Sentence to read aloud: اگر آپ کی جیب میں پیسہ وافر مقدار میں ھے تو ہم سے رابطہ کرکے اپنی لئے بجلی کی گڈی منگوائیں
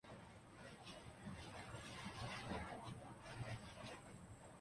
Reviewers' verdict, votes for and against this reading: rejected, 0, 3